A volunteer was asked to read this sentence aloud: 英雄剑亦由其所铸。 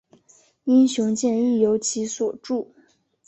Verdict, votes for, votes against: accepted, 2, 0